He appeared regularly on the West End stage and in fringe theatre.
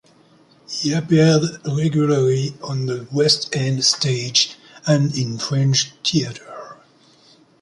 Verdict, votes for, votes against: accepted, 2, 0